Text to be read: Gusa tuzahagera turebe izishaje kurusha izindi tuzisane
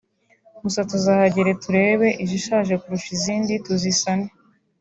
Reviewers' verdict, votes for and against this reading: accepted, 2, 0